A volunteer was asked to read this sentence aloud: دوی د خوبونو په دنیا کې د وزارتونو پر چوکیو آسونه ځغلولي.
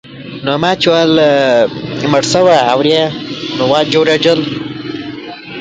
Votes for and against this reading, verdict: 0, 3, rejected